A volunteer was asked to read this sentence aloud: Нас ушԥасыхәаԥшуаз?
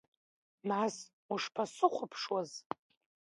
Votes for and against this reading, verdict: 2, 1, accepted